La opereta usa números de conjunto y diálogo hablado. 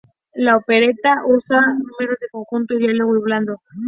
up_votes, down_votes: 0, 2